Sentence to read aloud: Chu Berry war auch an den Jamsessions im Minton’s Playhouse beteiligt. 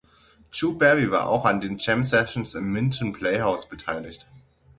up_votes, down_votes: 0, 6